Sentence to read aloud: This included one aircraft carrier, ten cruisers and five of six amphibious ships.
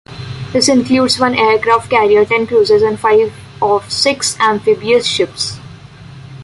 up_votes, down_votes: 2, 0